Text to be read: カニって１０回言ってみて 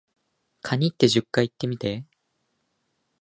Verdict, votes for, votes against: rejected, 0, 2